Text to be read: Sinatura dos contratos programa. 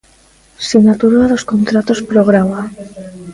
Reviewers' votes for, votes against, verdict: 1, 2, rejected